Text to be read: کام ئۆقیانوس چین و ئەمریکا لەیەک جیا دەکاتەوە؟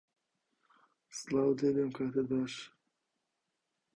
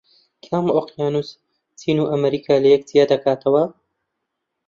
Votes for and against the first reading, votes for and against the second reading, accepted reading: 0, 2, 2, 0, second